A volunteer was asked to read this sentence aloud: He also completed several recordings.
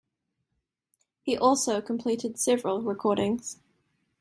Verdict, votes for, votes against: accepted, 2, 0